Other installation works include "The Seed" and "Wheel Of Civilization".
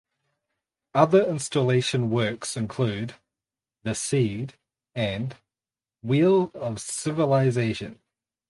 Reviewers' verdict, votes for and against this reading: accepted, 4, 2